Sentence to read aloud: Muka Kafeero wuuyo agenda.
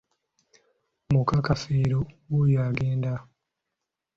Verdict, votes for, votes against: accepted, 2, 0